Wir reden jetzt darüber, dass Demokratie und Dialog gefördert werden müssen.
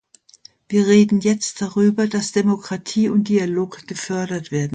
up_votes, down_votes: 0, 2